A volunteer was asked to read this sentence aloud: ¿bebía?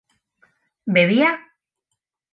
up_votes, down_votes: 2, 0